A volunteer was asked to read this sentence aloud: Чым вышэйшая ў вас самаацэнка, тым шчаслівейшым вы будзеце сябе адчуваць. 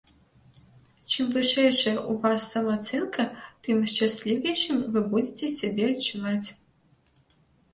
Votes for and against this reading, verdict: 0, 2, rejected